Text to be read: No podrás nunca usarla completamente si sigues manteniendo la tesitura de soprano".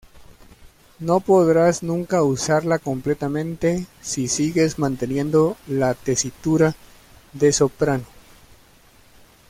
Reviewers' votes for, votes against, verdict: 2, 1, accepted